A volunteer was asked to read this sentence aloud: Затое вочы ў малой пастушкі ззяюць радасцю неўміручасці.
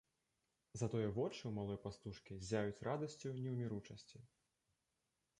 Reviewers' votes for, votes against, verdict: 2, 0, accepted